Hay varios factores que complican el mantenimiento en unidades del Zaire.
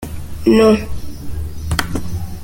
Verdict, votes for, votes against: rejected, 0, 2